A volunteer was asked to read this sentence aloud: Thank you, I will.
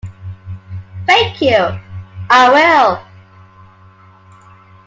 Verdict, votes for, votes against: accepted, 2, 0